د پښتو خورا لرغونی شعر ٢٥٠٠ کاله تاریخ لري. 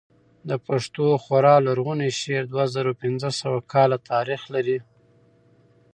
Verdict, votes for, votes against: rejected, 0, 2